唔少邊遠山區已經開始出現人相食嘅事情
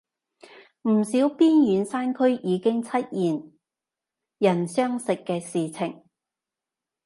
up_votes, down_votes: 0, 3